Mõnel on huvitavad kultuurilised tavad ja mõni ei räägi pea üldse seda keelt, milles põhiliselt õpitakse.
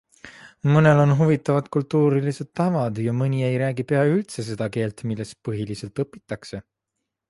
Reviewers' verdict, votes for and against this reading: accepted, 3, 0